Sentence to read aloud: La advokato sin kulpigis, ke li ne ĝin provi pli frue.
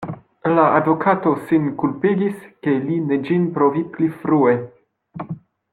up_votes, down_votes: 2, 0